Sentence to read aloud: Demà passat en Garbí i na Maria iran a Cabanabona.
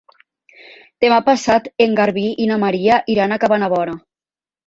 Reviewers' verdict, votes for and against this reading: accepted, 2, 0